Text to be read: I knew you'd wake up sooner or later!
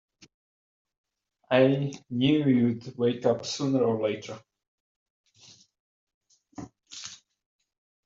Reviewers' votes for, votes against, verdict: 2, 1, accepted